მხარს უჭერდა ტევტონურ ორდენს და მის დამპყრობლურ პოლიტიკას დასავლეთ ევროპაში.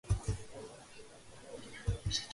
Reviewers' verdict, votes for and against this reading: rejected, 0, 3